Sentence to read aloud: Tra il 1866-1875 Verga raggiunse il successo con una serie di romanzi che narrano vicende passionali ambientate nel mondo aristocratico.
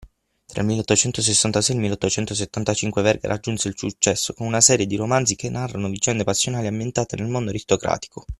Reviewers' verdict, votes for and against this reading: rejected, 0, 2